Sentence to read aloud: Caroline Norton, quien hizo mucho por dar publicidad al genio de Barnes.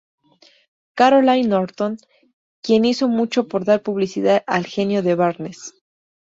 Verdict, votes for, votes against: accepted, 2, 0